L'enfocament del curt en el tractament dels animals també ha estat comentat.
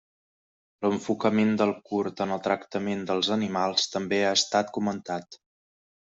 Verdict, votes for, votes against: accepted, 2, 0